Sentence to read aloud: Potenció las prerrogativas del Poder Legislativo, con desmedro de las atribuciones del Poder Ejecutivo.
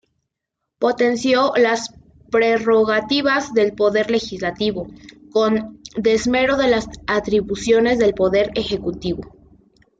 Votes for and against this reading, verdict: 0, 2, rejected